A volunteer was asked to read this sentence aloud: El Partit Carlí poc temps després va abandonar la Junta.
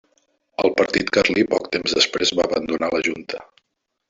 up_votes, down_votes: 0, 2